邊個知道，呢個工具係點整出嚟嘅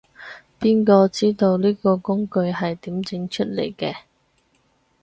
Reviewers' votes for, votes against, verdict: 4, 0, accepted